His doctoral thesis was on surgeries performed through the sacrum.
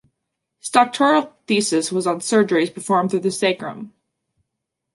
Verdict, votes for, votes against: rejected, 1, 2